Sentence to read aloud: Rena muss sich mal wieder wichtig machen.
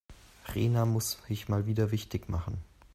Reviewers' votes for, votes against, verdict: 1, 2, rejected